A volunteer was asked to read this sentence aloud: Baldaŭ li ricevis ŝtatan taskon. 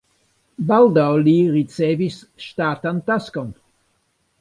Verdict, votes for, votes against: rejected, 1, 2